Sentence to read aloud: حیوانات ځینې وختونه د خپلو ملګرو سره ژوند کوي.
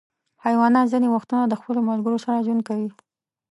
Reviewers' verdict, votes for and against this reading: accepted, 2, 0